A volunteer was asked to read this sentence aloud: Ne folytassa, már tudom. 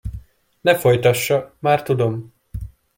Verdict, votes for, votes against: accepted, 2, 0